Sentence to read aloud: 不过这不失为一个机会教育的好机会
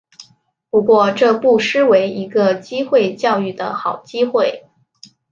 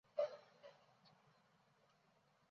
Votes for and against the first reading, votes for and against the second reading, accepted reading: 2, 0, 0, 3, first